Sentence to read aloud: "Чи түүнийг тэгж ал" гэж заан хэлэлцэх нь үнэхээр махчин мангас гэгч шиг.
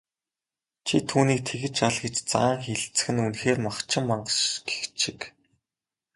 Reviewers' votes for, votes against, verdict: 0, 2, rejected